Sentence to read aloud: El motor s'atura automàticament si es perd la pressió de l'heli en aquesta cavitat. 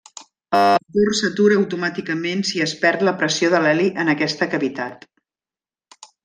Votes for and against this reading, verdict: 0, 2, rejected